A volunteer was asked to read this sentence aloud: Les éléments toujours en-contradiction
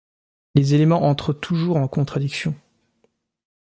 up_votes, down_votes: 1, 2